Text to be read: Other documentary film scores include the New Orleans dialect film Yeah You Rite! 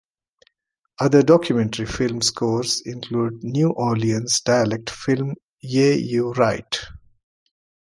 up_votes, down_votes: 2, 1